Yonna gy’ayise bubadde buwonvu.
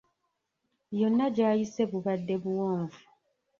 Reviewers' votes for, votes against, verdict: 1, 2, rejected